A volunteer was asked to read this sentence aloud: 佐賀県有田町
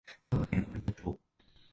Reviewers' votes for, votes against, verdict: 1, 2, rejected